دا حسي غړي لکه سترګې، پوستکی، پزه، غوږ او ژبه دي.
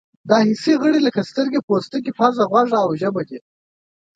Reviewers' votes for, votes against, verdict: 2, 0, accepted